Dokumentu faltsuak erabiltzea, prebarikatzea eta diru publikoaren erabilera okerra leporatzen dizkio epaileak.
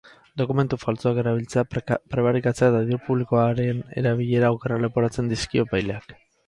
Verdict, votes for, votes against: rejected, 0, 2